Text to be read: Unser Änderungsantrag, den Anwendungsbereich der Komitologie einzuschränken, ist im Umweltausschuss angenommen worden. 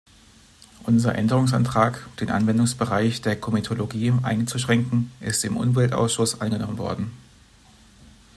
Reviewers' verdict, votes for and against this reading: rejected, 1, 2